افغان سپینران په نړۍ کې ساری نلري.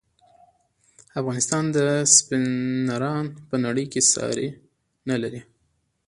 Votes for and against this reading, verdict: 0, 2, rejected